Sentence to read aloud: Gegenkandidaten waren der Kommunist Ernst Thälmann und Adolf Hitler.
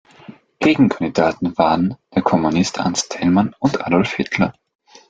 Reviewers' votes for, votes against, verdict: 2, 0, accepted